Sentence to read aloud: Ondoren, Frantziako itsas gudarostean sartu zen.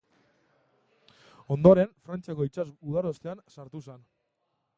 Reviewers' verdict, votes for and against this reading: rejected, 0, 2